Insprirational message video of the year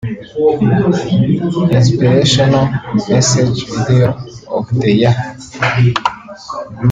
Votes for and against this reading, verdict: 0, 2, rejected